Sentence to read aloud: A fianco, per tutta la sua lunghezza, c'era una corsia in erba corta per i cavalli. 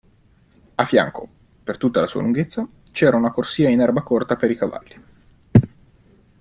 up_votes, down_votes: 2, 0